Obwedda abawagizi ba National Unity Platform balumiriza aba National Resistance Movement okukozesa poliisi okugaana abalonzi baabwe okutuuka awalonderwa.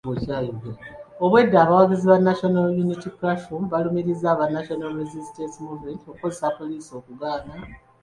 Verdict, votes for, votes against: rejected, 0, 2